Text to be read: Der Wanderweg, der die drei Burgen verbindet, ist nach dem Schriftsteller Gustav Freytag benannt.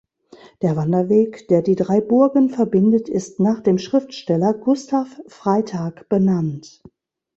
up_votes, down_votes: 2, 0